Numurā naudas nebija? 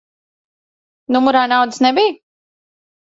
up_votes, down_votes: 1, 2